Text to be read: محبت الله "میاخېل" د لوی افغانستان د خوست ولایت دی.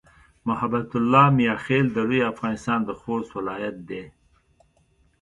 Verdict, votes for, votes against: accepted, 2, 0